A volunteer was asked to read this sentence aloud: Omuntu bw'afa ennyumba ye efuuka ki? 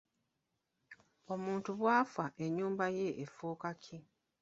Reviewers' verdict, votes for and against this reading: rejected, 1, 2